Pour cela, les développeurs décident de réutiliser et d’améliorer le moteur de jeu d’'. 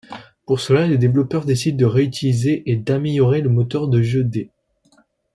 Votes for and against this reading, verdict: 2, 0, accepted